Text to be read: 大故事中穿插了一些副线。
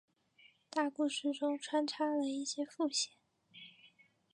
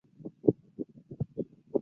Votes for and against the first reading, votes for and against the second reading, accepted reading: 3, 1, 0, 2, first